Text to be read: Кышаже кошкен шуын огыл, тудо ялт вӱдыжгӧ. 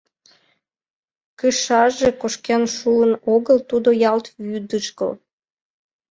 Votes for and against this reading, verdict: 0, 2, rejected